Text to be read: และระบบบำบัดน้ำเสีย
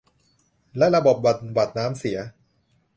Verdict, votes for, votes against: rejected, 1, 2